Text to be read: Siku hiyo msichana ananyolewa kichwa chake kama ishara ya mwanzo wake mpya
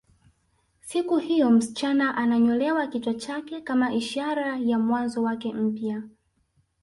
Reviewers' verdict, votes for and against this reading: rejected, 1, 2